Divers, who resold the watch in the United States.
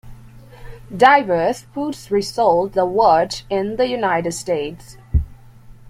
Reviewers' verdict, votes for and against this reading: rejected, 0, 2